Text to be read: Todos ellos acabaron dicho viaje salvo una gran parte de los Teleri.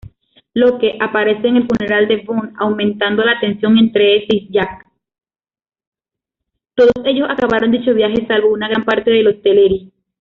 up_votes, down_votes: 0, 2